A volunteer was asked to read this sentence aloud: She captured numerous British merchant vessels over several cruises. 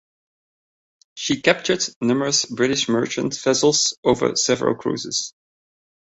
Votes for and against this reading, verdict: 0, 2, rejected